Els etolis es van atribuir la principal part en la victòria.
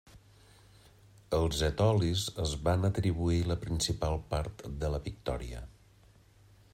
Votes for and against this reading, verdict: 2, 1, accepted